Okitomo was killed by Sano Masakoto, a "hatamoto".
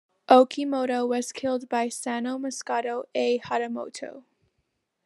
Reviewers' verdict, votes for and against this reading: accepted, 2, 0